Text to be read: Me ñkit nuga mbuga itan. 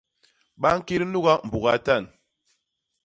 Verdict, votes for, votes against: rejected, 0, 2